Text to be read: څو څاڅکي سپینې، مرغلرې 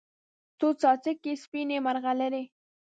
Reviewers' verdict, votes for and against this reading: accepted, 2, 0